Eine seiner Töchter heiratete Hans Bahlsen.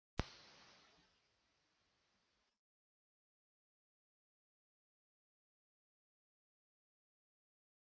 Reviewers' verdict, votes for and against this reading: rejected, 0, 2